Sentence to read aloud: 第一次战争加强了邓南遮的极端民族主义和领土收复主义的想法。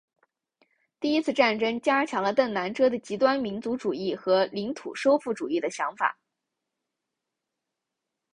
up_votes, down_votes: 9, 0